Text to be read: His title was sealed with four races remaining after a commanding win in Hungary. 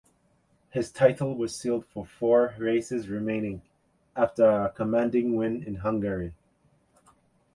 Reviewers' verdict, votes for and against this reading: rejected, 0, 2